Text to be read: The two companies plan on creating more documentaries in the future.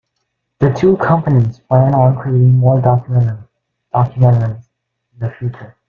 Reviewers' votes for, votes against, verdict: 0, 2, rejected